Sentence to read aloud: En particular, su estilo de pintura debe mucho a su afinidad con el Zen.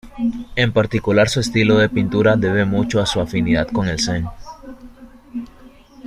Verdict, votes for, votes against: accepted, 2, 1